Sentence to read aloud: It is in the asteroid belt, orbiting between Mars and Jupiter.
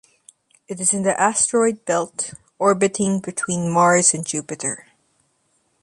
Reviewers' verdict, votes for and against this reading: accepted, 2, 0